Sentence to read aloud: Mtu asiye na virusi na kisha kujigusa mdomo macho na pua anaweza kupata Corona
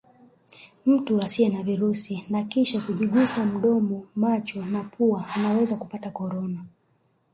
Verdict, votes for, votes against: rejected, 0, 2